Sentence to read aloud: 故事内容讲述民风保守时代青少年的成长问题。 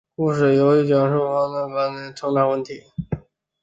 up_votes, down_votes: 2, 1